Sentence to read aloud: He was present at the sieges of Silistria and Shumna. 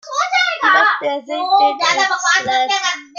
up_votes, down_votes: 0, 2